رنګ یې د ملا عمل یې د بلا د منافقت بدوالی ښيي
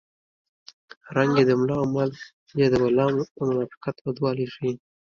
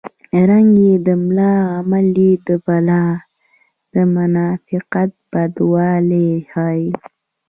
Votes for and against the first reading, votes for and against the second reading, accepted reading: 2, 1, 0, 2, first